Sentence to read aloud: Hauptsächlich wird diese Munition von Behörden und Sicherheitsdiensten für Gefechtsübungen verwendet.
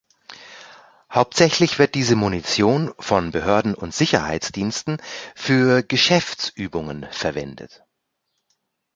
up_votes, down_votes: 0, 2